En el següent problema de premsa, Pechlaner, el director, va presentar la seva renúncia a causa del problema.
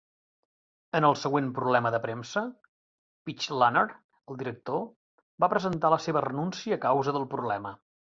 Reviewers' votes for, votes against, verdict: 2, 0, accepted